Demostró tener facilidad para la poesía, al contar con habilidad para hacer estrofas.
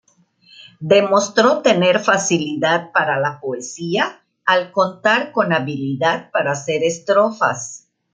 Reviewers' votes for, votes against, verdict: 2, 0, accepted